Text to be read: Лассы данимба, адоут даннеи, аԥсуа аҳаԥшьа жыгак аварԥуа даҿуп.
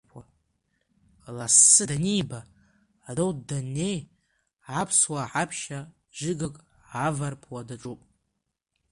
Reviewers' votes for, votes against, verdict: 1, 3, rejected